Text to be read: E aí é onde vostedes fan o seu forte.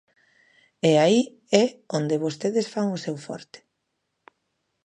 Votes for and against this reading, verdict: 2, 0, accepted